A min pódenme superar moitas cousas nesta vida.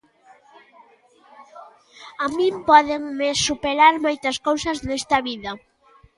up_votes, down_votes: 2, 0